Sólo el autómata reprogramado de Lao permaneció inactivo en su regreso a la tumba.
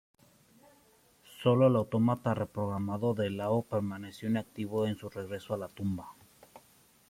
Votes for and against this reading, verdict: 2, 0, accepted